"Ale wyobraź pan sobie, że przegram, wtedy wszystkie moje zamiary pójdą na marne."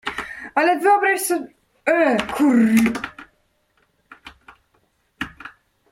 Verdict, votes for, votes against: rejected, 0, 2